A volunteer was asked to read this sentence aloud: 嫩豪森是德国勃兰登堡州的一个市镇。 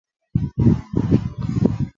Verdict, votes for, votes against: rejected, 0, 3